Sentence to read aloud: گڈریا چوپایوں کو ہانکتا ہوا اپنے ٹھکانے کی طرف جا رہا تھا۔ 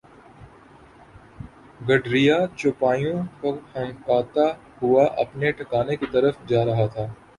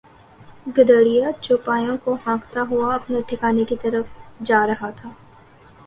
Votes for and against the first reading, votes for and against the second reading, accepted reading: 2, 2, 2, 0, second